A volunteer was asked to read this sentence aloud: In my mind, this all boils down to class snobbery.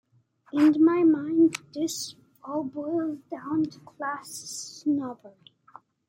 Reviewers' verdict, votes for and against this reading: accepted, 2, 0